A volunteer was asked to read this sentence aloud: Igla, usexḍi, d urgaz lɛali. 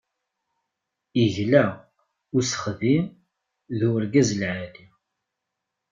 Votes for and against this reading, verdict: 1, 2, rejected